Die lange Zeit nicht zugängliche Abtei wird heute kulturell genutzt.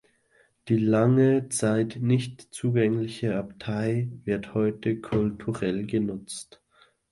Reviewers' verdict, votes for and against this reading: accepted, 2, 0